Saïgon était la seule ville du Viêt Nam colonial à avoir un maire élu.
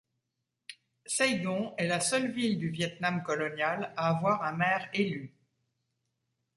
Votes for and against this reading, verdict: 1, 2, rejected